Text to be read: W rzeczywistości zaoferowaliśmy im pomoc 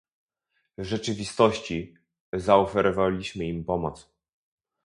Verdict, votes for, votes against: rejected, 0, 2